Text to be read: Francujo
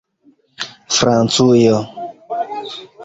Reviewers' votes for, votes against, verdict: 2, 0, accepted